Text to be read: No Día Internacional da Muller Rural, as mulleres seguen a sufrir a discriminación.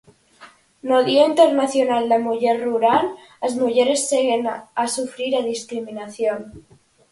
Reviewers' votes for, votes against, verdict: 2, 4, rejected